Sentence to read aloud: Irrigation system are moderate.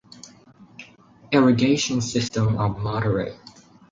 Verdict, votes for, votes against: accepted, 2, 0